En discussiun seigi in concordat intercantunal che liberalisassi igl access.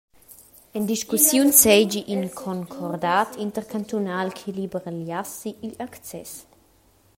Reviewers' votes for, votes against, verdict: 0, 2, rejected